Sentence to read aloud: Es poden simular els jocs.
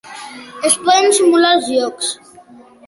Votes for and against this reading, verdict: 2, 0, accepted